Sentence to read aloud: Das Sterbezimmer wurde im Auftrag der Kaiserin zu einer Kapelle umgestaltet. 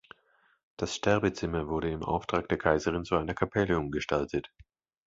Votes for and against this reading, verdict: 2, 0, accepted